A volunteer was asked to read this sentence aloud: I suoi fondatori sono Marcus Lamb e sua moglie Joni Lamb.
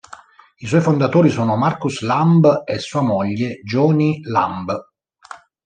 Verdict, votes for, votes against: accepted, 2, 0